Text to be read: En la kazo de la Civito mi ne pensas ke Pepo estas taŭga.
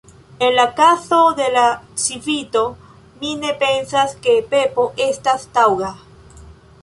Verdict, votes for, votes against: rejected, 0, 3